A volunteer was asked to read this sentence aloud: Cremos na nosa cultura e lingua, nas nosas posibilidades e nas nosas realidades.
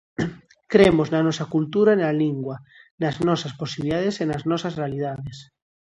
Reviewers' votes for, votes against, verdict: 0, 2, rejected